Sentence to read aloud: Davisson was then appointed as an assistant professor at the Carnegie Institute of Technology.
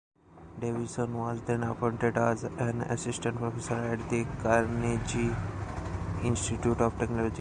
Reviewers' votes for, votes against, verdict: 2, 0, accepted